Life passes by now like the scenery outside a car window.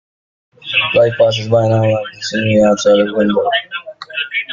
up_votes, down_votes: 0, 2